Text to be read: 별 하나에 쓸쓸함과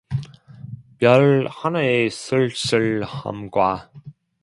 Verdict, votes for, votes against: rejected, 1, 2